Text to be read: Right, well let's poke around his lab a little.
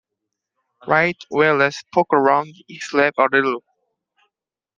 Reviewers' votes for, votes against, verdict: 2, 0, accepted